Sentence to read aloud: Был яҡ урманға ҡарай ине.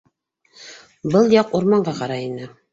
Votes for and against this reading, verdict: 2, 0, accepted